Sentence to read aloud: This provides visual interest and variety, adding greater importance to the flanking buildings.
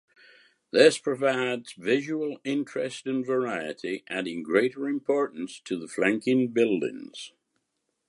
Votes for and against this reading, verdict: 2, 0, accepted